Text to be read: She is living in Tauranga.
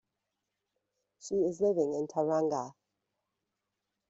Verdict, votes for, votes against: rejected, 1, 2